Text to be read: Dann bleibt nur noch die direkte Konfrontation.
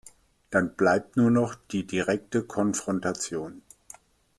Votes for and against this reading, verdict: 1, 2, rejected